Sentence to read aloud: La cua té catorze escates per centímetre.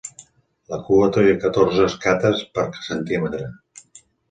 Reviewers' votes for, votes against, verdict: 0, 2, rejected